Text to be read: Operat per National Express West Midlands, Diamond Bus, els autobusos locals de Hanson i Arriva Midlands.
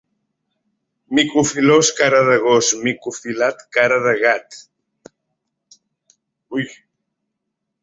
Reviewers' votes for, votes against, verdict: 0, 2, rejected